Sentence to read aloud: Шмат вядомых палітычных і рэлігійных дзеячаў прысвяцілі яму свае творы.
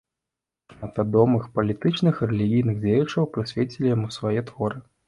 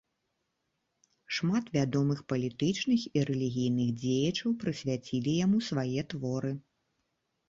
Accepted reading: second